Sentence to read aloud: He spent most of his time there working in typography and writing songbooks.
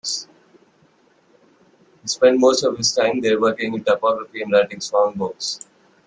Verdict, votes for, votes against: rejected, 2, 4